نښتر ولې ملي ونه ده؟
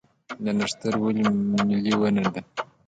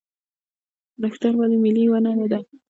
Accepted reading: first